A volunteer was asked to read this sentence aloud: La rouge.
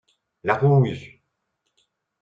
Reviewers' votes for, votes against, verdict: 0, 2, rejected